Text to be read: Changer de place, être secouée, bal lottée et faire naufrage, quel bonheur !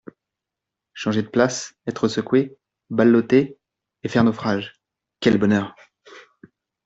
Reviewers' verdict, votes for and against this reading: accepted, 2, 0